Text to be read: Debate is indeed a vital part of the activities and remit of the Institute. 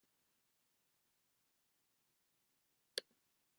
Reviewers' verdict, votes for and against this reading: rejected, 0, 2